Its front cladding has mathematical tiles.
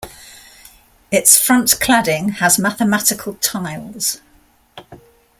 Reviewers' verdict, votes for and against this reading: accepted, 2, 0